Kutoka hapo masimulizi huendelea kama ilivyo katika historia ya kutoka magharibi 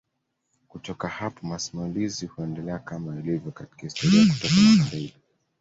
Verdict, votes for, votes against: rejected, 1, 2